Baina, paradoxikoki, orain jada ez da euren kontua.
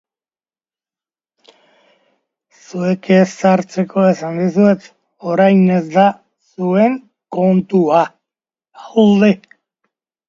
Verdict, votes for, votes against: rejected, 0, 2